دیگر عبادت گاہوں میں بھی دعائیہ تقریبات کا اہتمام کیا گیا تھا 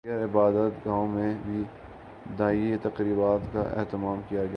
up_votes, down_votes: 0, 2